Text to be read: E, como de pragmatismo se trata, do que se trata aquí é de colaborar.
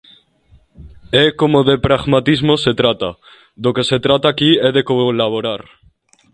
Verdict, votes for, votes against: accepted, 2, 0